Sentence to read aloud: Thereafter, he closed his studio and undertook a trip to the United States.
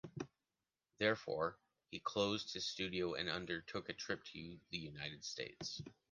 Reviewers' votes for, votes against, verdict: 1, 2, rejected